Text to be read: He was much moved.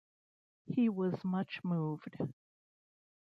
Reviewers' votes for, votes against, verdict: 2, 0, accepted